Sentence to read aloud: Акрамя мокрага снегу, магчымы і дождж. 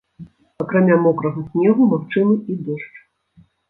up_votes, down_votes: 1, 2